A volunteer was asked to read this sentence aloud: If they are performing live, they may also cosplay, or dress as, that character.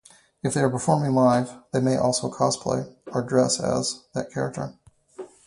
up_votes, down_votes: 2, 0